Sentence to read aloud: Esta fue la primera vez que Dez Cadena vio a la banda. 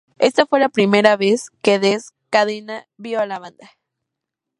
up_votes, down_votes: 0, 2